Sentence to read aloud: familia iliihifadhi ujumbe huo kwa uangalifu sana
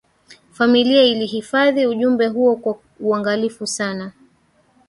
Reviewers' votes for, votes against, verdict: 3, 2, accepted